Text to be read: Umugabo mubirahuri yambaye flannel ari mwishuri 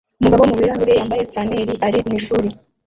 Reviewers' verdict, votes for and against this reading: rejected, 0, 2